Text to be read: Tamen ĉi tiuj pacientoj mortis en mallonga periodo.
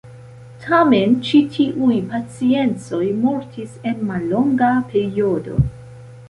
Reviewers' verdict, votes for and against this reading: rejected, 0, 2